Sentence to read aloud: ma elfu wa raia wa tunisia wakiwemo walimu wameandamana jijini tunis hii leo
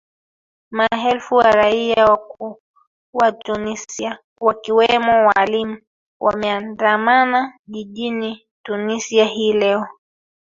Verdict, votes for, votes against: rejected, 0, 3